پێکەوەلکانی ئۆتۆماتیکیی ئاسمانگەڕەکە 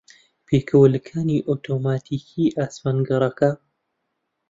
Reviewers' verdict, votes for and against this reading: accepted, 2, 0